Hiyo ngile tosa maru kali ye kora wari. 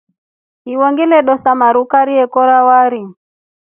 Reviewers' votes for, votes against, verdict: 0, 2, rejected